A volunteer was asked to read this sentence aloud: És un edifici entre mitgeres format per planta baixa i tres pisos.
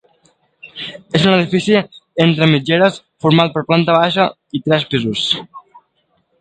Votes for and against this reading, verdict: 1, 2, rejected